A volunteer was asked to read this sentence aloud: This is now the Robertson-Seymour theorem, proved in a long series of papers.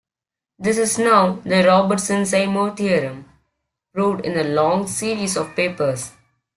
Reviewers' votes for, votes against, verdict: 1, 2, rejected